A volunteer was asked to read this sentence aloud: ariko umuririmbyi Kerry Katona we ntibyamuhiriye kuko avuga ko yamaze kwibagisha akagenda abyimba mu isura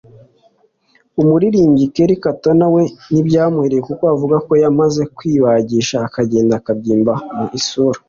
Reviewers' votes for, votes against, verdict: 2, 0, accepted